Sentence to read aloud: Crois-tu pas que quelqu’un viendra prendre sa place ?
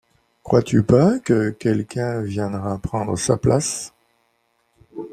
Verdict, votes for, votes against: accepted, 2, 0